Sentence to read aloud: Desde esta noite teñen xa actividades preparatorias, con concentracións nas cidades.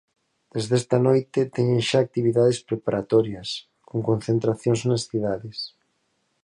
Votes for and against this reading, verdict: 4, 0, accepted